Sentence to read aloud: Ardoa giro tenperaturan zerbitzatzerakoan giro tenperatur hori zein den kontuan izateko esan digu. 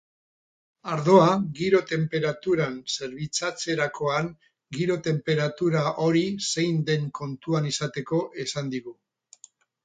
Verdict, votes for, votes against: rejected, 0, 2